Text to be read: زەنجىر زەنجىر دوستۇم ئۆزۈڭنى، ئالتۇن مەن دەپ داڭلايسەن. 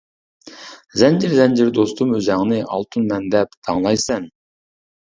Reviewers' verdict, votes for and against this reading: accepted, 2, 1